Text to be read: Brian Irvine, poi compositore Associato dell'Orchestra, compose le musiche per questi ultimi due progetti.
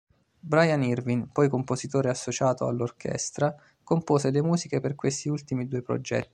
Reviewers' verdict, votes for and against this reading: rejected, 2, 3